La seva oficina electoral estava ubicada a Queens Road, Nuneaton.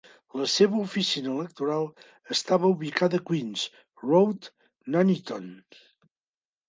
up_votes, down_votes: 2, 1